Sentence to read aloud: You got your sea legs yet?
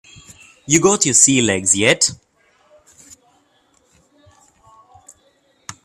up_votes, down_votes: 3, 0